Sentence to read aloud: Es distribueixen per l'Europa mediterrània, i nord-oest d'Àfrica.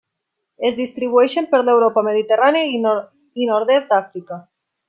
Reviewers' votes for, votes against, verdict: 0, 2, rejected